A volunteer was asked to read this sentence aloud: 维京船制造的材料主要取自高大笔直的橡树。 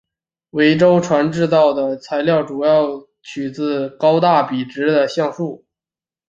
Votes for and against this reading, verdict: 2, 3, rejected